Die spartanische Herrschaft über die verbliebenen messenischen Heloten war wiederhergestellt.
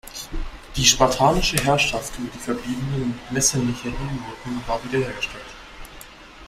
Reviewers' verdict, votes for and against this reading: rejected, 0, 2